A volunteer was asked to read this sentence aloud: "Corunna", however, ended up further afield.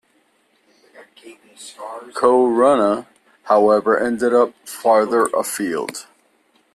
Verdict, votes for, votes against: rejected, 0, 2